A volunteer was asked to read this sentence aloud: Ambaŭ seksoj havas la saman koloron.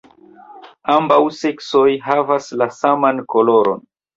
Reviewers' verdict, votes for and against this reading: accepted, 2, 0